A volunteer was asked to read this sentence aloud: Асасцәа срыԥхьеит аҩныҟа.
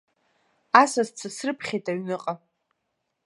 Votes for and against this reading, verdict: 2, 0, accepted